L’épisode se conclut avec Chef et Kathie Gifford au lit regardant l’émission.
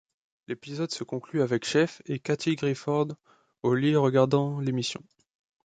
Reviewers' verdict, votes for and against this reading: rejected, 0, 2